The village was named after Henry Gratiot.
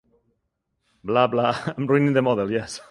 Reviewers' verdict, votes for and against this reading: rejected, 0, 2